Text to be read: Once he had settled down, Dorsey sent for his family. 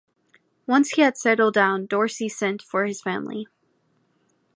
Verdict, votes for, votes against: accepted, 2, 0